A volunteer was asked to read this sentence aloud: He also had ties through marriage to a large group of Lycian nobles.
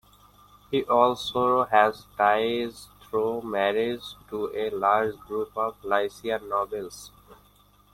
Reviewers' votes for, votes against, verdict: 1, 2, rejected